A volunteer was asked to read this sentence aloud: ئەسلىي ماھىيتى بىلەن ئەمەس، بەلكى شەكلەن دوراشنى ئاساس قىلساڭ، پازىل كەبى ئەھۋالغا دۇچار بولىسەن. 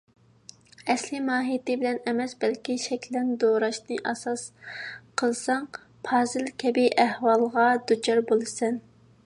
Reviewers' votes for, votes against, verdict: 2, 0, accepted